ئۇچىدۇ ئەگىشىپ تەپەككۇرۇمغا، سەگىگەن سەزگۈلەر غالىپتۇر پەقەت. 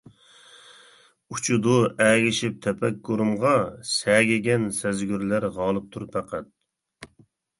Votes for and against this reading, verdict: 0, 2, rejected